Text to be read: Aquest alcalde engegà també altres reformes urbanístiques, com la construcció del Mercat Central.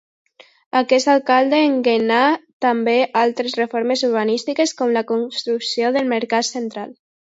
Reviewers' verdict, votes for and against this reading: rejected, 0, 2